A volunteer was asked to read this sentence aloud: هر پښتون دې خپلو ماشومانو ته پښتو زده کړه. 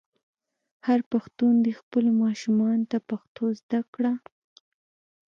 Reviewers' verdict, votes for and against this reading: accepted, 2, 0